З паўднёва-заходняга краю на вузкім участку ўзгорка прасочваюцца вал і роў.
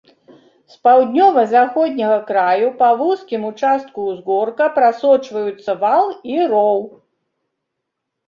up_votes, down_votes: 1, 2